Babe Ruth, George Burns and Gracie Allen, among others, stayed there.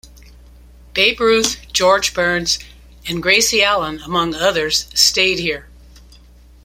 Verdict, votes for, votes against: rejected, 1, 2